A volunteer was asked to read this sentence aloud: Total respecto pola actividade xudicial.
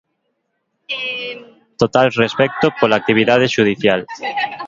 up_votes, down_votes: 4, 0